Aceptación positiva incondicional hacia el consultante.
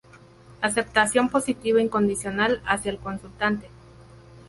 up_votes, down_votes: 2, 2